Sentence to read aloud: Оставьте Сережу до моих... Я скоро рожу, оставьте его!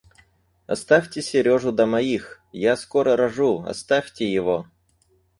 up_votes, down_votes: 2, 4